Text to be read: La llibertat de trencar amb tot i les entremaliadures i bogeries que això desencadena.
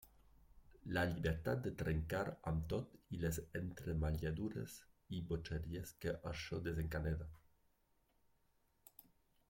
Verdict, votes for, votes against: accepted, 2, 1